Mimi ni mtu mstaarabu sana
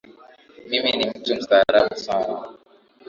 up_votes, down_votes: 9, 3